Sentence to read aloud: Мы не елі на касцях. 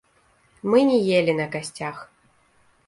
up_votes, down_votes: 1, 2